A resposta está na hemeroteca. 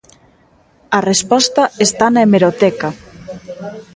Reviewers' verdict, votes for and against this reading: rejected, 0, 2